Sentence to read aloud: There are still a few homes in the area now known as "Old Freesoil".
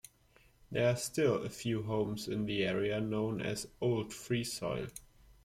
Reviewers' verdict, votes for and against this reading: accepted, 2, 0